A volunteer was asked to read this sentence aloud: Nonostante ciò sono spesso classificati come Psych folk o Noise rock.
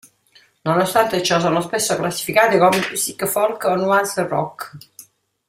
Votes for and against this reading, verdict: 0, 2, rejected